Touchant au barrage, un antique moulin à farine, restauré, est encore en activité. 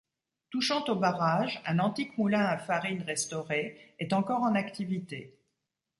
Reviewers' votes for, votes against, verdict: 2, 0, accepted